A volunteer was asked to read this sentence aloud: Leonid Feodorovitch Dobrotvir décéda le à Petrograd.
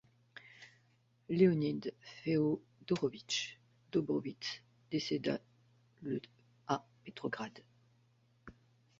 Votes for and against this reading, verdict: 0, 2, rejected